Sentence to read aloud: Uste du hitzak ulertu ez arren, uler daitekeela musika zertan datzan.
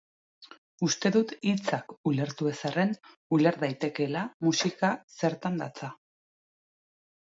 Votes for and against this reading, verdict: 1, 2, rejected